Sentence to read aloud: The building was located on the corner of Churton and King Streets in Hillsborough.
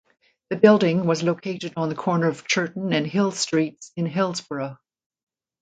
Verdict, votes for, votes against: rejected, 0, 2